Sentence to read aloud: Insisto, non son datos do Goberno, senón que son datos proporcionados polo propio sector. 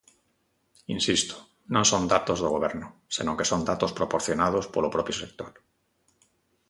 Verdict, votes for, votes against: accepted, 2, 0